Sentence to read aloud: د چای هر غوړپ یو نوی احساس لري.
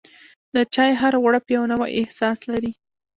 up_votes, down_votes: 1, 2